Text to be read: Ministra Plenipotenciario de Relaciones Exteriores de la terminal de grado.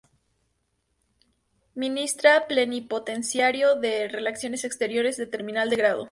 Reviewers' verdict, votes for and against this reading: rejected, 2, 2